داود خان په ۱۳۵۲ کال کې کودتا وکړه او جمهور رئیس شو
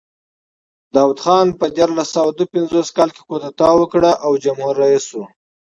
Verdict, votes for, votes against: rejected, 0, 2